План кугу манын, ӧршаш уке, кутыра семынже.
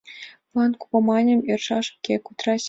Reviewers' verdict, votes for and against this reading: accepted, 2, 1